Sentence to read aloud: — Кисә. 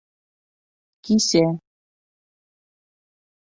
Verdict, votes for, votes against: accepted, 2, 1